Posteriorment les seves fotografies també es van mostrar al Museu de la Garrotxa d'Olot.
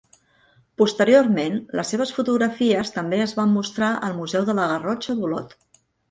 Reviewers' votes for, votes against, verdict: 2, 0, accepted